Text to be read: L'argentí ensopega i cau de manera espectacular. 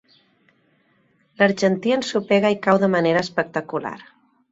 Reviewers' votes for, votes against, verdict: 2, 0, accepted